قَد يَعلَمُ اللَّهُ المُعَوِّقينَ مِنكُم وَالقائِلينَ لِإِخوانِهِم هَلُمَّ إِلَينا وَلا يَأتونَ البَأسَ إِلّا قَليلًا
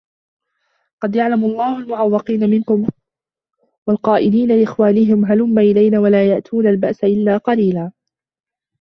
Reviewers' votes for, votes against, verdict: 0, 2, rejected